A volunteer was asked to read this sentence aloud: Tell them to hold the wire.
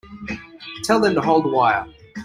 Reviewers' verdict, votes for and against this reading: accepted, 3, 1